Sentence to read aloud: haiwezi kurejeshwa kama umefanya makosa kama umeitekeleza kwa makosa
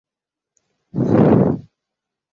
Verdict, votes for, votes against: rejected, 0, 2